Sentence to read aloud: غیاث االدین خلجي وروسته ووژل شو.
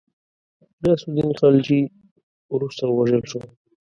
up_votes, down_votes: 1, 2